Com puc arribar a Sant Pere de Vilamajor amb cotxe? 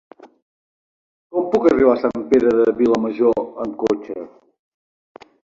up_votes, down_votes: 4, 0